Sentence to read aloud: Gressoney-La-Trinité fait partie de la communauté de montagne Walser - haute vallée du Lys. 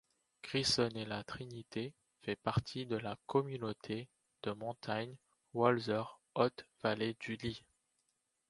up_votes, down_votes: 2, 0